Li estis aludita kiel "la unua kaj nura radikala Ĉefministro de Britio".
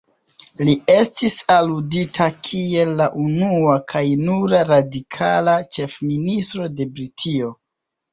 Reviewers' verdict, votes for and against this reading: accepted, 2, 0